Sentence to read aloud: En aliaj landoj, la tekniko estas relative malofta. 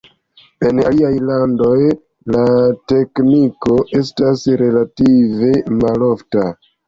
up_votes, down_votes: 2, 0